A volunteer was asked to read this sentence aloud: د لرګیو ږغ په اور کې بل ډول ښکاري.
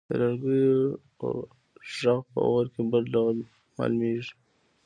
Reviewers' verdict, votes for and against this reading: rejected, 1, 2